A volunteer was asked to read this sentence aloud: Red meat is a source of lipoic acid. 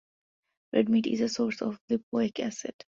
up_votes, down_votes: 2, 0